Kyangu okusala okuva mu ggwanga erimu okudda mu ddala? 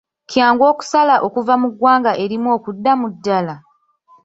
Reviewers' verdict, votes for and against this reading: accepted, 2, 1